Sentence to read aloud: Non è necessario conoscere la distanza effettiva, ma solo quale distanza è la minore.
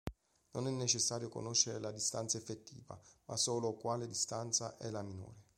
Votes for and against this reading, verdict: 2, 0, accepted